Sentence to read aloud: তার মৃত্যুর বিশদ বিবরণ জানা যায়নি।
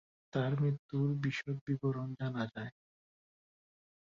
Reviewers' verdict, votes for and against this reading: rejected, 0, 4